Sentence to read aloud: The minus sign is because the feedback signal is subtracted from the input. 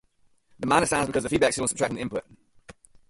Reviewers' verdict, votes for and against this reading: rejected, 0, 4